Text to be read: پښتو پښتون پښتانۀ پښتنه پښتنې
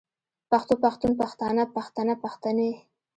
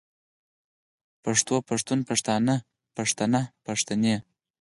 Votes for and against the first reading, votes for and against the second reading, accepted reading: 1, 2, 4, 0, second